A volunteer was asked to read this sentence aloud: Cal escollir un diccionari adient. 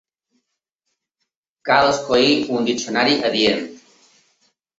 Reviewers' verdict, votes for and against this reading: accepted, 2, 0